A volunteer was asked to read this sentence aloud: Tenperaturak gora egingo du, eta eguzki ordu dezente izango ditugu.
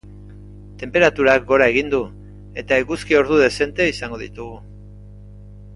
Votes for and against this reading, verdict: 1, 2, rejected